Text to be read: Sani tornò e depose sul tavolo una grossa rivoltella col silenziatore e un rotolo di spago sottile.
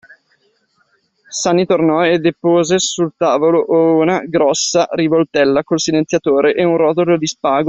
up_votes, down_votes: 1, 2